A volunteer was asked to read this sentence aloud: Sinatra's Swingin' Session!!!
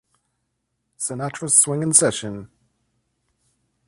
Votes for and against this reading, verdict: 2, 0, accepted